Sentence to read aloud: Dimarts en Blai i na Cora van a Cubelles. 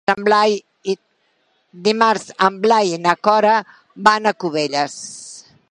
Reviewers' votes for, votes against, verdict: 0, 2, rejected